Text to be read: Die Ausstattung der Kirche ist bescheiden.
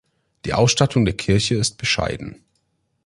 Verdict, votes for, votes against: accepted, 2, 0